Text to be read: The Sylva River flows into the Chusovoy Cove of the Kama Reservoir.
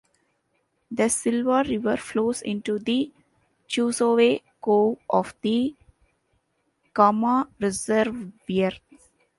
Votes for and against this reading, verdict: 0, 2, rejected